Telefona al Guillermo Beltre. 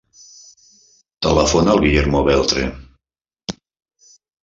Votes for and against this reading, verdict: 3, 0, accepted